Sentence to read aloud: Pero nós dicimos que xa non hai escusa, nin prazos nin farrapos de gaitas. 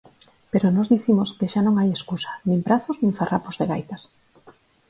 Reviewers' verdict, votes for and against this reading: accepted, 4, 0